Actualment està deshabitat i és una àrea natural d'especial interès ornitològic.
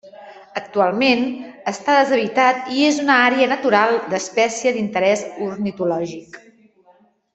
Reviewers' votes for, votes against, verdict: 1, 2, rejected